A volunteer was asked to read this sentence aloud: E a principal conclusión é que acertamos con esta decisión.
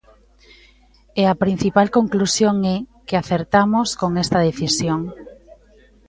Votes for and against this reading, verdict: 1, 2, rejected